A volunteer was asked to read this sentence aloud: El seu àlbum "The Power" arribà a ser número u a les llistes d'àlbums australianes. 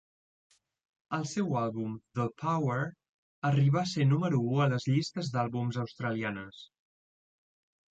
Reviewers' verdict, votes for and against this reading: accepted, 3, 1